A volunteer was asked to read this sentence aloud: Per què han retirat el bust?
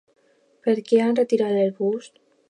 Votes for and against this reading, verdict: 2, 0, accepted